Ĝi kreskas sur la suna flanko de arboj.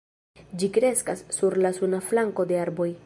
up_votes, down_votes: 2, 0